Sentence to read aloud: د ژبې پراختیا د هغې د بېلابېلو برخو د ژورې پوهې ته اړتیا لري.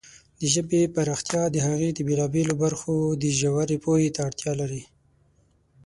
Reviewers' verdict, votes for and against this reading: accepted, 6, 0